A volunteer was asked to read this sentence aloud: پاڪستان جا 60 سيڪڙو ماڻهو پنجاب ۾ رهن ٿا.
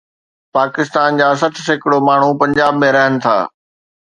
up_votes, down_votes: 0, 2